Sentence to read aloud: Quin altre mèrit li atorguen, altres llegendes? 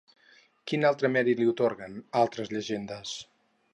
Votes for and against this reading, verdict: 2, 2, rejected